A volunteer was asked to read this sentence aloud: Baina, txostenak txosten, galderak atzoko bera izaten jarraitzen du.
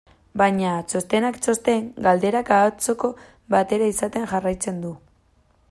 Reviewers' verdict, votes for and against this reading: rejected, 0, 2